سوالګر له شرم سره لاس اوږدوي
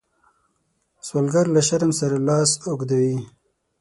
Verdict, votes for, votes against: accepted, 6, 0